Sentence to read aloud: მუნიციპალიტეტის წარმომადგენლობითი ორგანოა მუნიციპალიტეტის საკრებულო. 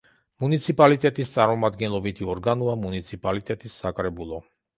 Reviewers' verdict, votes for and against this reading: accepted, 2, 0